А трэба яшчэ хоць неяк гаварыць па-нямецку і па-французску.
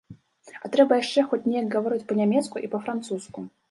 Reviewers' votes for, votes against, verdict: 0, 2, rejected